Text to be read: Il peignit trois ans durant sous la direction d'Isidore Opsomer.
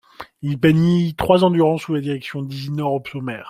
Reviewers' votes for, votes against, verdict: 1, 2, rejected